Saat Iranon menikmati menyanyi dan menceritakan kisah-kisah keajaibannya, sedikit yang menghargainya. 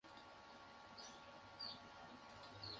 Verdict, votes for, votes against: rejected, 0, 2